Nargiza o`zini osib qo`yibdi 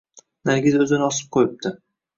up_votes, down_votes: 2, 0